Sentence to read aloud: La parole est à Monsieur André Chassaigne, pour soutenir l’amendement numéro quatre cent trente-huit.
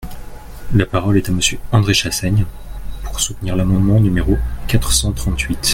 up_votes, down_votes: 2, 0